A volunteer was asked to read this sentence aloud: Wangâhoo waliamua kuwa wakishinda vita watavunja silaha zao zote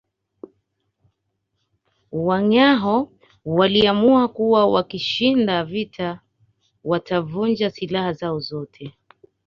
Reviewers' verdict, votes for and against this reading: accepted, 2, 0